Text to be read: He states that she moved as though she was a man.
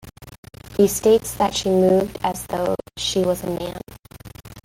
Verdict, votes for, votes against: rejected, 1, 2